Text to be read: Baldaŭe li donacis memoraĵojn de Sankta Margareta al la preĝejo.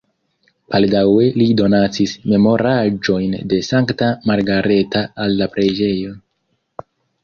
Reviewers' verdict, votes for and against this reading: rejected, 1, 2